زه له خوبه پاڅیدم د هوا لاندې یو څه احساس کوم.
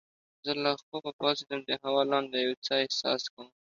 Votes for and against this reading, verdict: 2, 0, accepted